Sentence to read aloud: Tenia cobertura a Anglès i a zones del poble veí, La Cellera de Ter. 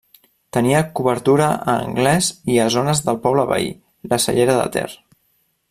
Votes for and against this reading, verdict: 3, 1, accepted